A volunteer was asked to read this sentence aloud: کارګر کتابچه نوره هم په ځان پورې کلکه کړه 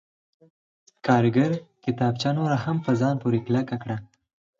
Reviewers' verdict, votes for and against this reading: accepted, 4, 0